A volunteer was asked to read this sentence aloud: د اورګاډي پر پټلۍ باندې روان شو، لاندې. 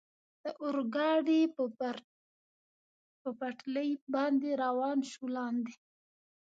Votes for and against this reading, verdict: 1, 2, rejected